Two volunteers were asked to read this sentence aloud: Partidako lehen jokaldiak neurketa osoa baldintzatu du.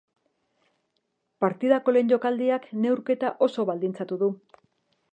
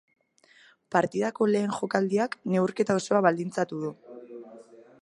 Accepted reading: second